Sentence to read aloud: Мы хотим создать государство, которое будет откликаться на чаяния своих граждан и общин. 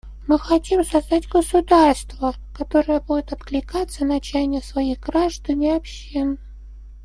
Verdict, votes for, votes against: accepted, 2, 1